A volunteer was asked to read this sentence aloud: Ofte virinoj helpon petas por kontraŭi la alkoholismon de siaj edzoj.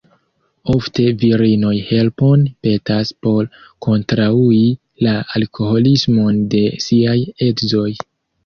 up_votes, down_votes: 0, 2